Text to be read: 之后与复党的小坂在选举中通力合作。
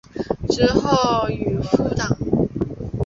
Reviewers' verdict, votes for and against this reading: rejected, 0, 3